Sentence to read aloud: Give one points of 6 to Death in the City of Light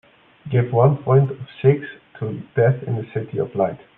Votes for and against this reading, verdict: 0, 2, rejected